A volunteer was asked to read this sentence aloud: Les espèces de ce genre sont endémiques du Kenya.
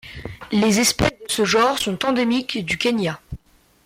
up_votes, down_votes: 1, 2